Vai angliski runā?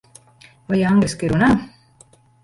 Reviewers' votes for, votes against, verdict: 0, 2, rejected